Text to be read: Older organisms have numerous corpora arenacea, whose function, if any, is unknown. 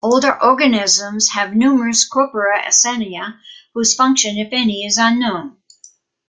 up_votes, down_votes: 0, 2